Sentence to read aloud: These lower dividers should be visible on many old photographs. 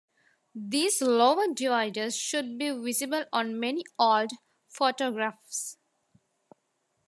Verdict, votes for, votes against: accepted, 2, 0